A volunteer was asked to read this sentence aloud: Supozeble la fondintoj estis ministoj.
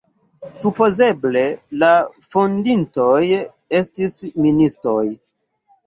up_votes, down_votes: 2, 1